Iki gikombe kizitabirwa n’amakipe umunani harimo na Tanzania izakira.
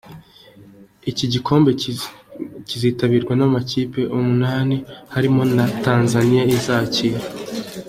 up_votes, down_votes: 2, 1